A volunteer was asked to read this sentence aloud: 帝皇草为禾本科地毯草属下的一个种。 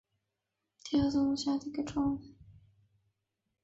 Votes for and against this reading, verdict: 0, 2, rejected